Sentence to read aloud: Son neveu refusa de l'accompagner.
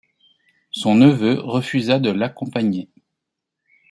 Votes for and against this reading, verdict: 2, 0, accepted